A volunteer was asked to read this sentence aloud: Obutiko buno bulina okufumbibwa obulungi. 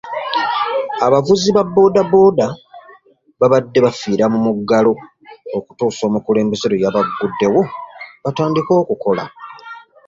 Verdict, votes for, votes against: rejected, 1, 2